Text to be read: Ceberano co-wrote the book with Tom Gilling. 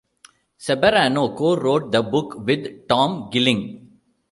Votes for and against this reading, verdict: 1, 2, rejected